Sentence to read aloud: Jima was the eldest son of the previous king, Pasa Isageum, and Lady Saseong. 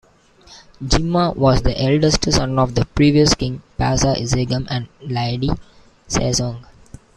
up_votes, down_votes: 1, 2